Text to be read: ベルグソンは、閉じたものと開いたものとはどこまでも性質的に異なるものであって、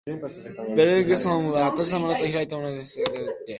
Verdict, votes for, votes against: rejected, 0, 2